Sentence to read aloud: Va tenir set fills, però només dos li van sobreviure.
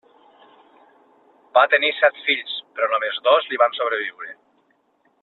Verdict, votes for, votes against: accepted, 3, 0